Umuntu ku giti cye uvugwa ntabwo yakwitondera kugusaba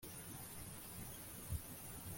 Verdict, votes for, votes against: rejected, 1, 2